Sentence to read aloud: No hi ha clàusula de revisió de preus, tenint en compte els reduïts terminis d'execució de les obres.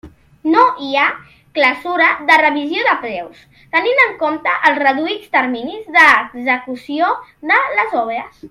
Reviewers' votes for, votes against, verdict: 0, 2, rejected